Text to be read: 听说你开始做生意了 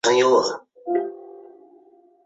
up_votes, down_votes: 0, 2